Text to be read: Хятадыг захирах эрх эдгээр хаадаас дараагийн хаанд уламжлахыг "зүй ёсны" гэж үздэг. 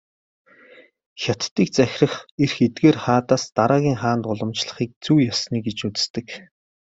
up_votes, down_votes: 2, 0